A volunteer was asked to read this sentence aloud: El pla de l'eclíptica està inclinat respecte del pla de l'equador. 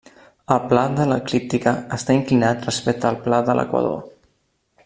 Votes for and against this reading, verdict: 1, 2, rejected